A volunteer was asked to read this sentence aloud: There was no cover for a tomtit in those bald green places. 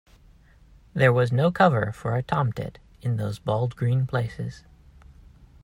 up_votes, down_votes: 2, 0